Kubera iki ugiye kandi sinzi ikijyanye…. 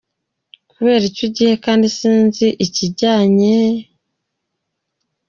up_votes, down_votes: 2, 0